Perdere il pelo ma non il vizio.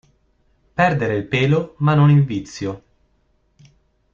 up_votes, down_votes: 2, 0